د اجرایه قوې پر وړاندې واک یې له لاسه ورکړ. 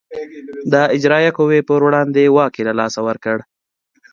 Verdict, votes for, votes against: accepted, 2, 0